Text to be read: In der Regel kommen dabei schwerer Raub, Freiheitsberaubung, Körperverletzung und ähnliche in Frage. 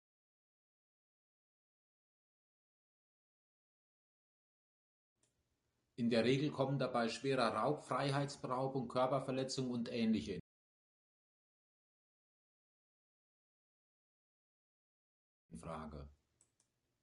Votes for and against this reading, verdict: 2, 1, accepted